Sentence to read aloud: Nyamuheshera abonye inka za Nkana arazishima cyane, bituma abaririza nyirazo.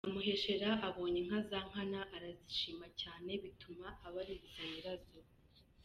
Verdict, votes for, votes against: accepted, 2, 0